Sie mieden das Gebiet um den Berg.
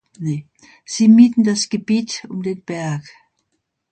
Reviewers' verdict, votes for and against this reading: rejected, 0, 2